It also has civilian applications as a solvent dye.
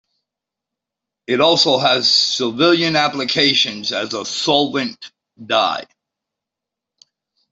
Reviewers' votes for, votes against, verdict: 2, 0, accepted